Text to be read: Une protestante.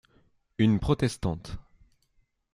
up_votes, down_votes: 2, 0